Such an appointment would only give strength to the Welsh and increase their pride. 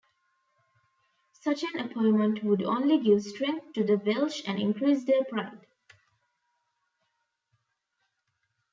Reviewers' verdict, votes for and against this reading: accepted, 2, 0